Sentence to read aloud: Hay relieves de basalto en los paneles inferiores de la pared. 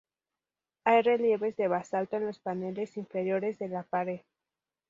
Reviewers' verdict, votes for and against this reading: rejected, 0, 2